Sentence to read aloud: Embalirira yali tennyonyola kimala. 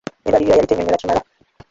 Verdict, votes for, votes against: rejected, 0, 2